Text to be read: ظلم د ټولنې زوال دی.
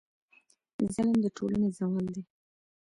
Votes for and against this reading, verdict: 1, 2, rejected